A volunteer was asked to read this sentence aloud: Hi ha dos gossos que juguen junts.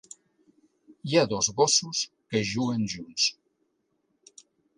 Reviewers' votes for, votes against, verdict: 3, 0, accepted